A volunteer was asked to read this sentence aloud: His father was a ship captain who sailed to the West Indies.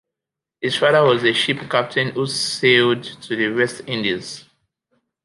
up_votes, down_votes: 3, 1